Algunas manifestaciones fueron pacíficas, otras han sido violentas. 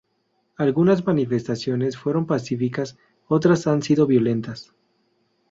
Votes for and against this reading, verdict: 2, 0, accepted